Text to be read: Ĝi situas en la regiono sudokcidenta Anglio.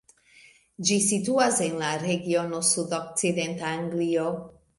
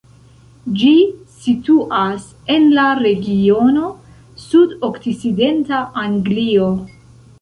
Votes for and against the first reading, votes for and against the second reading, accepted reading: 2, 0, 0, 2, first